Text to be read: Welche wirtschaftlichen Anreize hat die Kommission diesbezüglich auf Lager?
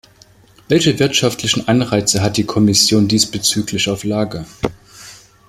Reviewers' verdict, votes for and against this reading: accepted, 2, 0